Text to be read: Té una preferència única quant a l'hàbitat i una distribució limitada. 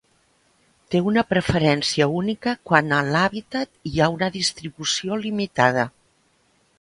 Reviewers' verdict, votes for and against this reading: rejected, 1, 2